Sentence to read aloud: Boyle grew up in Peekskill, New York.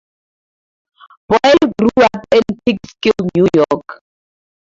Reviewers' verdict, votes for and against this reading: rejected, 0, 2